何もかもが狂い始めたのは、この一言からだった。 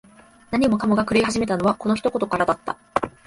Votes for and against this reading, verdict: 2, 0, accepted